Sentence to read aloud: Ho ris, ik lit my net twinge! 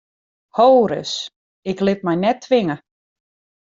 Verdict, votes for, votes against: accepted, 2, 1